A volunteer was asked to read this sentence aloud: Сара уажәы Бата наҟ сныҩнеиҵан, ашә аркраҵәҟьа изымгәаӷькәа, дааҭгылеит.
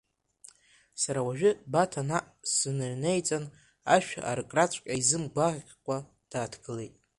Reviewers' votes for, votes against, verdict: 0, 2, rejected